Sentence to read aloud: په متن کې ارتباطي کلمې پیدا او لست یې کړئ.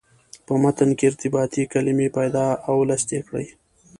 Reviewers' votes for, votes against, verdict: 2, 0, accepted